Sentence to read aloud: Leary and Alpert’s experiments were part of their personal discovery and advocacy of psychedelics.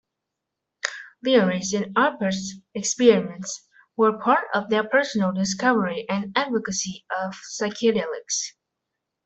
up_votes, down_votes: 1, 2